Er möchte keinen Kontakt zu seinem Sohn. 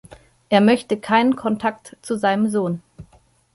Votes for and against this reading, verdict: 2, 0, accepted